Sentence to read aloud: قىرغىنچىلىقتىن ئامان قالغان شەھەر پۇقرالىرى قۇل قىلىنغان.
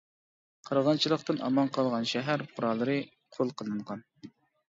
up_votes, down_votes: 0, 2